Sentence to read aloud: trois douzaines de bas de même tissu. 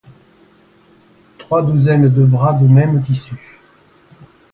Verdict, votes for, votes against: rejected, 0, 2